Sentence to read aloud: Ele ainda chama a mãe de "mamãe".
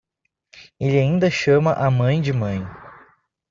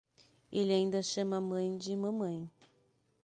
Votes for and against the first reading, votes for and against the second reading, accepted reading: 0, 2, 6, 0, second